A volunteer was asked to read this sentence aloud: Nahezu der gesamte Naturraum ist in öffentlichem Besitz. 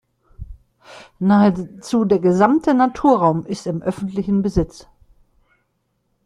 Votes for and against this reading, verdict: 1, 2, rejected